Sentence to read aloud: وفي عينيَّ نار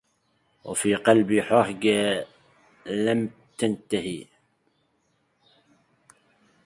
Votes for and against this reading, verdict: 0, 2, rejected